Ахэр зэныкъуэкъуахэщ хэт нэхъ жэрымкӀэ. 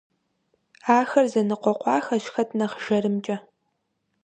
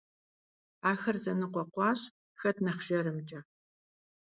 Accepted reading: first